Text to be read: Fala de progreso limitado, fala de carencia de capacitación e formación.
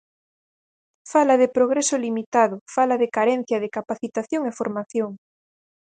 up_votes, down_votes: 4, 0